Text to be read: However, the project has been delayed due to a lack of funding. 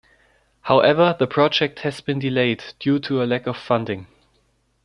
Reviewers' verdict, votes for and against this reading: accepted, 2, 0